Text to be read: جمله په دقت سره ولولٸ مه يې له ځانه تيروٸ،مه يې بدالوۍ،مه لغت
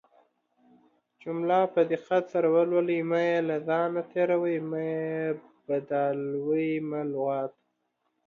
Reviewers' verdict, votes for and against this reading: accepted, 2, 0